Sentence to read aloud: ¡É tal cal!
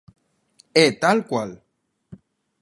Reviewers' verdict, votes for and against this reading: rejected, 0, 2